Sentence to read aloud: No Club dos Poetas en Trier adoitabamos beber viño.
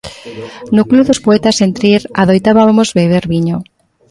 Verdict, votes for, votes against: rejected, 0, 2